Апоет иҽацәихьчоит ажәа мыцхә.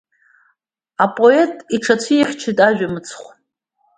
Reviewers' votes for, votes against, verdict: 2, 0, accepted